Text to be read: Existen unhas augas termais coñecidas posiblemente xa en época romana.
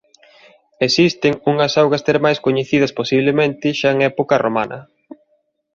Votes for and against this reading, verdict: 2, 0, accepted